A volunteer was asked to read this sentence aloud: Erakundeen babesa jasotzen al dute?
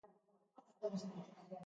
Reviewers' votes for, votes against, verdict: 0, 3, rejected